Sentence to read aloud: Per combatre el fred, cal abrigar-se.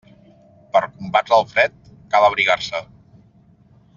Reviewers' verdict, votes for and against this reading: rejected, 0, 2